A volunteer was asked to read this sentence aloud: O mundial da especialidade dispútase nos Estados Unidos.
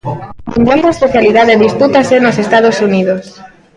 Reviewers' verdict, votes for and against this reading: rejected, 0, 2